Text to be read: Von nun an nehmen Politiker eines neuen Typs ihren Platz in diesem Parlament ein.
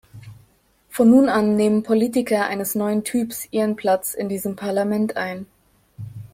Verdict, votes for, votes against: accepted, 2, 0